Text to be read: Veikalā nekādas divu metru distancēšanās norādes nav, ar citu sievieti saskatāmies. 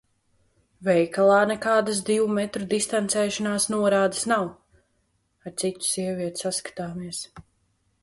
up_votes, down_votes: 2, 0